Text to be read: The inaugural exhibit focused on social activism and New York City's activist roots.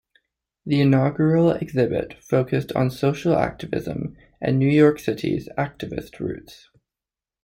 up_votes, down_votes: 2, 0